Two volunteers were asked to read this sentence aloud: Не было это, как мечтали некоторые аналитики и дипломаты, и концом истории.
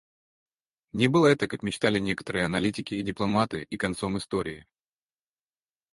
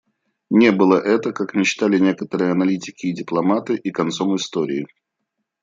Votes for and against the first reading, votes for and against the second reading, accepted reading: 2, 4, 2, 0, second